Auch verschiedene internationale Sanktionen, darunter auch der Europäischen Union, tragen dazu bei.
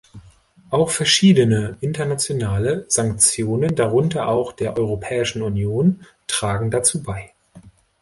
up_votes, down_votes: 2, 0